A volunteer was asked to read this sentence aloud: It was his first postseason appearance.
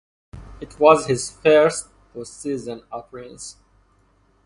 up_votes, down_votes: 2, 0